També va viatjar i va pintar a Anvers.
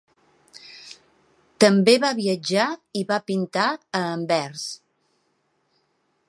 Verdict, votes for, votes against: accepted, 2, 0